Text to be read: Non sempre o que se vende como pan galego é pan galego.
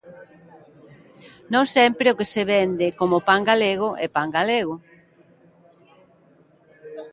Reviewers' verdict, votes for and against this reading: accepted, 2, 0